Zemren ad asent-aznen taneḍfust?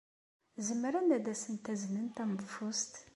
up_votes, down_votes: 2, 0